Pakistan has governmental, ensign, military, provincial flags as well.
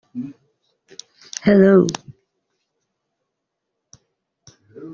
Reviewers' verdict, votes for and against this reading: rejected, 0, 2